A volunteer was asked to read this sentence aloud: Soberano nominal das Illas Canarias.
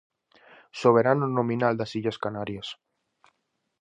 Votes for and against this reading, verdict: 4, 0, accepted